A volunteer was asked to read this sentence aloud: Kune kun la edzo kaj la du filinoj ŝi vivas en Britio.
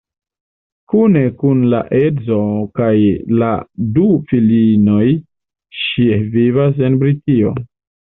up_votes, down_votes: 2, 0